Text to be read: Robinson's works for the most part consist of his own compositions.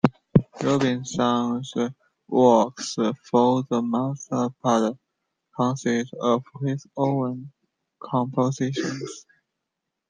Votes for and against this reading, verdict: 0, 2, rejected